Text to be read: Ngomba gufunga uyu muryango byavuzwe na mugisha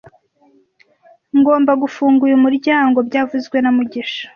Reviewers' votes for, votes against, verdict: 2, 0, accepted